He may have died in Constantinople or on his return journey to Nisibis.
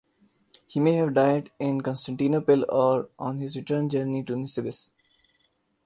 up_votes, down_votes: 1, 2